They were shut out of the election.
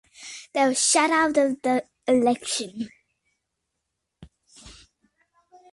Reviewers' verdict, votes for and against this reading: rejected, 0, 2